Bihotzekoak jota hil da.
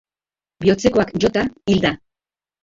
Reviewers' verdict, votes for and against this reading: rejected, 1, 3